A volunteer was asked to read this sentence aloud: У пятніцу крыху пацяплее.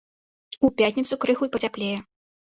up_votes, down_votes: 2, 0